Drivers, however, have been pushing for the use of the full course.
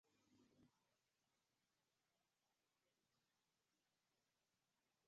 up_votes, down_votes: 1, 2